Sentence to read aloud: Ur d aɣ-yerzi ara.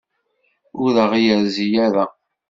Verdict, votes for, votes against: accepted, 2, 0